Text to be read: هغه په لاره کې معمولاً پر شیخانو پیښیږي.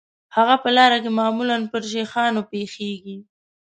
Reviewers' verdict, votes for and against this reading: accepted, 2, 0